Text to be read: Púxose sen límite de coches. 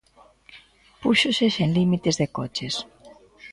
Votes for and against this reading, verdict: 0, 2, rejected